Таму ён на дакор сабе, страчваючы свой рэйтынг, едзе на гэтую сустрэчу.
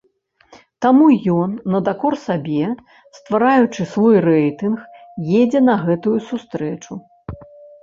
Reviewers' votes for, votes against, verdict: 1, 2, rejected